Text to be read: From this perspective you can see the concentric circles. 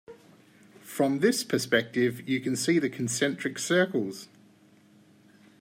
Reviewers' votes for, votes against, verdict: 2, 0, accepted